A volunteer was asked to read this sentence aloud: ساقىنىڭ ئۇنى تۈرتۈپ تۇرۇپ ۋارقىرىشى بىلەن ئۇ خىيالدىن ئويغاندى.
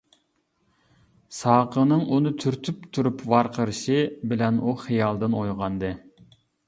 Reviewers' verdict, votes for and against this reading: accepted, 2, 0